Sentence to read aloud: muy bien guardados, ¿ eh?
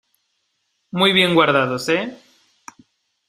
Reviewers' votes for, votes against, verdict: 2, 0, accepted